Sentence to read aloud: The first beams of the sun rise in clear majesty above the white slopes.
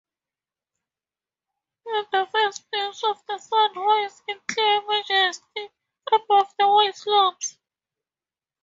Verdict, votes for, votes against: rejected, 0, 2